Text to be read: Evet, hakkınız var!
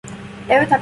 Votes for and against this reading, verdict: 0, 2, rejected